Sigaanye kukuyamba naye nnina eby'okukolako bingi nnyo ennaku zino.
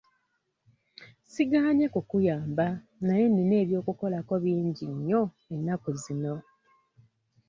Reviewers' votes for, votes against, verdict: 2, 0, accepted